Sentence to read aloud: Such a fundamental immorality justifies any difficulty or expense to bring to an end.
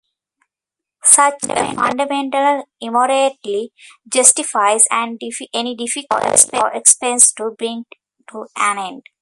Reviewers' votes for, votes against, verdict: 0, 2, rejected